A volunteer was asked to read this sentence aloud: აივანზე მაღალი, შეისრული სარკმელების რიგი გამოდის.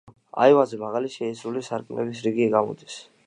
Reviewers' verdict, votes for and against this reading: accepted, 2, 1